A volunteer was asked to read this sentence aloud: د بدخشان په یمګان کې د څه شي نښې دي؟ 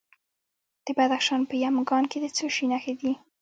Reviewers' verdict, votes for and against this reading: accepted, 2, 0